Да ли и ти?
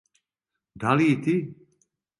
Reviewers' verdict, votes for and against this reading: accepted, 2, 0